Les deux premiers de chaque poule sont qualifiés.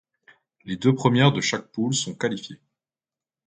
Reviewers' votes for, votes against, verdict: 0, 2, rejected